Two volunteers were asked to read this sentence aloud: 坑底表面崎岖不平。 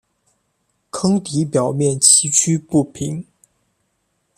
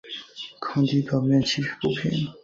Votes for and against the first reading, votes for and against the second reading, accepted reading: 2, 0, 0, 2, first